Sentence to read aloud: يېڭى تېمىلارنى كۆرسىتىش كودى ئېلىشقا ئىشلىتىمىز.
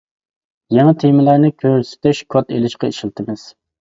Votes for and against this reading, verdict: 2, 1, accepted